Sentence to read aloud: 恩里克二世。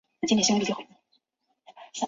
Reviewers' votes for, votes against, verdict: 0, 2, rejected